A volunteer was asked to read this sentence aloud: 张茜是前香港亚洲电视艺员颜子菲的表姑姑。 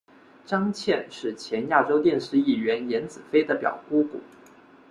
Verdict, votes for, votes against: rejected, 0, 2